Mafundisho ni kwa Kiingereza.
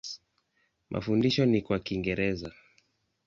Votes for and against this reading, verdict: 2, 0, accepted